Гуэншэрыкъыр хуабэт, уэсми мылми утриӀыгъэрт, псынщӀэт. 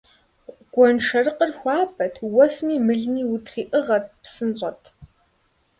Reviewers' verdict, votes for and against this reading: accepted, 2, 0